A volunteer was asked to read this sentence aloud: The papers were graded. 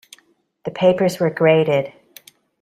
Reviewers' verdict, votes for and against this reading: accepted, 2, 0